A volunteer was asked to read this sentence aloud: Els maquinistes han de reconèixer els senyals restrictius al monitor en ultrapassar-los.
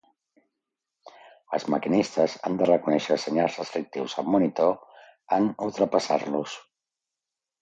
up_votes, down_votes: 2, 0